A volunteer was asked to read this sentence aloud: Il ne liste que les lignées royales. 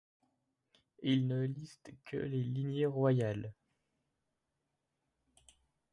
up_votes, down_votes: 0, 2